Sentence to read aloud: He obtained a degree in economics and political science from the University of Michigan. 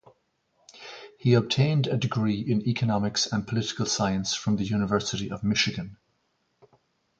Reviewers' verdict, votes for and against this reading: accepted, 2, 0